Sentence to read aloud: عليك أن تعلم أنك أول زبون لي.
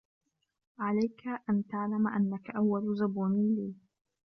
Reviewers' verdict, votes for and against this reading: accepted, 2, 1